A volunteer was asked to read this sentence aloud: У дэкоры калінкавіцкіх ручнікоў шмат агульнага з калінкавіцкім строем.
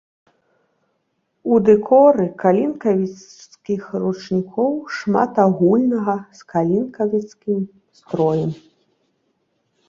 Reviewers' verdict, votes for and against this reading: accepted, 2, 1